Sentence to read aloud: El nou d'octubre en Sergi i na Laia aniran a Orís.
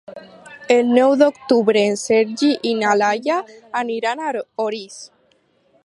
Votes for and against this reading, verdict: 4, 6, rejected